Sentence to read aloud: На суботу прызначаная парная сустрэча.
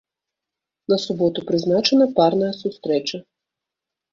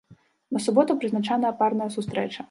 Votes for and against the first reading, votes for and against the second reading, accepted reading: 1, 2, 2, 1, second